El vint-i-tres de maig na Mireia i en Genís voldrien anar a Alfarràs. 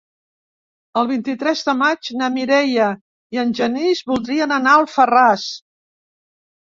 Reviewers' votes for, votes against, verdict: 1, 2, rejected